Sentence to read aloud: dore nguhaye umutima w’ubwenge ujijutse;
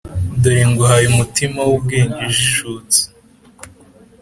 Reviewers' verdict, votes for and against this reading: accepted, 2, 0